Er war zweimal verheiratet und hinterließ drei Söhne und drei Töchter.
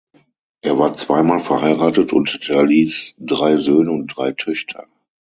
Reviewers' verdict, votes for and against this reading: accepted, 6, 3